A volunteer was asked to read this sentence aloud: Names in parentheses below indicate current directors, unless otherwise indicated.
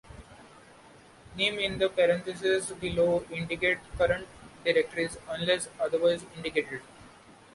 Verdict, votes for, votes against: rejected, 1, 2